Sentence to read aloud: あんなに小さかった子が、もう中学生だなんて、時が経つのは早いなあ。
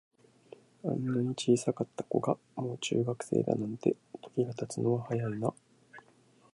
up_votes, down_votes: 2, 0